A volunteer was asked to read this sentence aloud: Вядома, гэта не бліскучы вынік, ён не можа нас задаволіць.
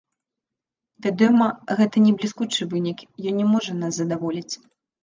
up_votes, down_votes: 1, 3